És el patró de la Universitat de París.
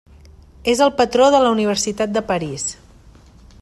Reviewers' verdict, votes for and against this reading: accepted, 3, 0